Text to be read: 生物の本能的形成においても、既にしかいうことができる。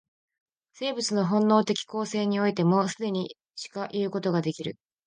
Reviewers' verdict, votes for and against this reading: accepted, 3, 1